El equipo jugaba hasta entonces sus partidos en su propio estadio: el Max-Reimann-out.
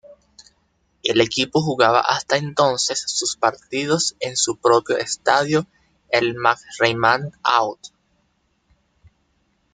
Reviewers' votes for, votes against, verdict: 3, 1, accepted